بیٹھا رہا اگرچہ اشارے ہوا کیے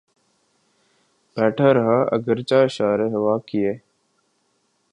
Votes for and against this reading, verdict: 6, 0, accepted